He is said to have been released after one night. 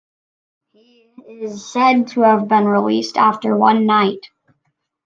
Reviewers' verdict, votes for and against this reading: rejected, 0, 2